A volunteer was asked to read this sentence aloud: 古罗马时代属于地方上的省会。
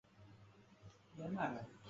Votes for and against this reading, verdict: 1, 3, rejected